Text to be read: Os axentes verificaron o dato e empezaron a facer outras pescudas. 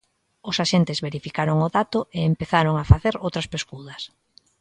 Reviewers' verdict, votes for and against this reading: accepted, 2, 0